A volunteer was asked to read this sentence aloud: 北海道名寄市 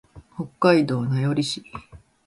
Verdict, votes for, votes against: accepted, 2, 0